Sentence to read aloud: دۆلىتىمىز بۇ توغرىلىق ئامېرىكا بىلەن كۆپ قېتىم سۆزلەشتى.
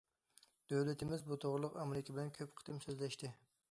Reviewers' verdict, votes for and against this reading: accepted, 2, 0